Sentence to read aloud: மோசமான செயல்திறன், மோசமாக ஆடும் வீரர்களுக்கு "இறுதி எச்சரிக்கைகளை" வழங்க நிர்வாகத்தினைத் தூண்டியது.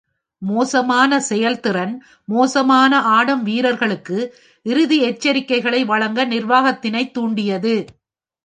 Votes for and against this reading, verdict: 1, 2, rejected